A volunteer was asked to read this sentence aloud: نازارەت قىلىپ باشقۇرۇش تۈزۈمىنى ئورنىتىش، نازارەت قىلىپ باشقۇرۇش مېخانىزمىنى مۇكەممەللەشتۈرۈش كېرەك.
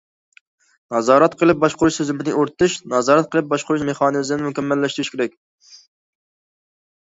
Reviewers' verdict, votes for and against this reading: accepted, 2, 0